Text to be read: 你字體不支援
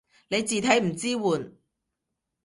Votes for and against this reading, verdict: 0, 2, rejected